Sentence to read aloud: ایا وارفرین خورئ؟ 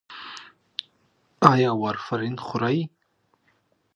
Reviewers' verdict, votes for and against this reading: accepted, 2, 0